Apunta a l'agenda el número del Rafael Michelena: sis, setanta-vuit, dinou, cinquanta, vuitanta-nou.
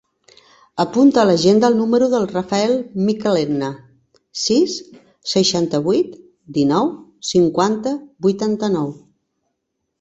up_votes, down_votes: 1, 2